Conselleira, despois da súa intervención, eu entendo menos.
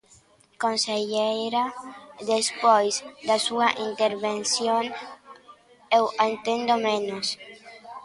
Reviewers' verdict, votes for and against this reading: rejected, 1, 2